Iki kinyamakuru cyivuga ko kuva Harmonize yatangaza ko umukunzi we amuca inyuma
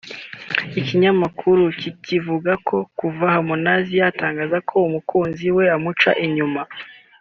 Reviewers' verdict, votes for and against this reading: rejected, 1, 2